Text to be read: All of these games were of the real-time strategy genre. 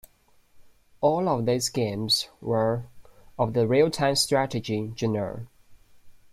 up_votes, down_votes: 2, 0